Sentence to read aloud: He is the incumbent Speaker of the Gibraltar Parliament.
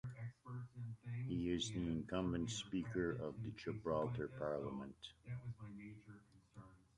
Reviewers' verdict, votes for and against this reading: rejected, 0, 2